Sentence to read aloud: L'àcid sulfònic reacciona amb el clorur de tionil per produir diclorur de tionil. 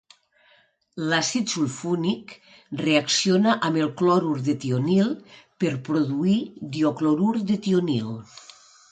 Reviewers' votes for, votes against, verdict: 0, 2, rejected